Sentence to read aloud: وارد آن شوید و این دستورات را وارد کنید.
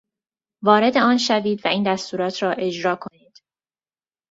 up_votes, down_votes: 0, 2